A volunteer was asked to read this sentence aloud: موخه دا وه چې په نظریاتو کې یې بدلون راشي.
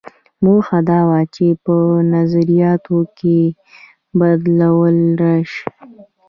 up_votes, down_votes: 1, 2